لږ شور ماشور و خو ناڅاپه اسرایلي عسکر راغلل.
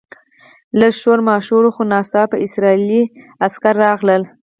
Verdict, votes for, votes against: rejected, 2, 4